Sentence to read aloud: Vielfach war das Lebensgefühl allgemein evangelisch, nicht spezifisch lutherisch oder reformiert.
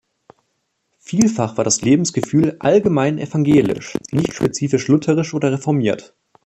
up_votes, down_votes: 2, 0